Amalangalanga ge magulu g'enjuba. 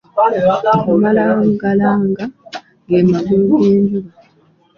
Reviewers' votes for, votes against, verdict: 0, 2, rejected